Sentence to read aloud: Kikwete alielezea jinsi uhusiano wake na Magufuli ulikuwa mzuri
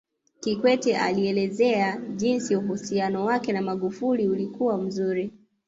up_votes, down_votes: 2, 0